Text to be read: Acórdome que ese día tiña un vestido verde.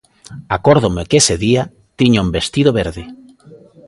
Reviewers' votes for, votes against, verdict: 2, 1, accepted